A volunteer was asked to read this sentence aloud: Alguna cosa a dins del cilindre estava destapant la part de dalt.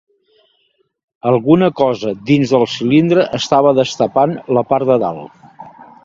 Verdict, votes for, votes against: rejected, 1, 2